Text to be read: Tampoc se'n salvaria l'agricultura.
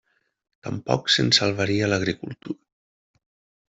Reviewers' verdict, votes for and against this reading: rejected, 0, 2